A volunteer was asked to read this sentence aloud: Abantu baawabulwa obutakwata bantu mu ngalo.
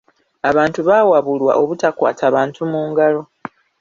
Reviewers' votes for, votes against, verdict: 1, 2, rejected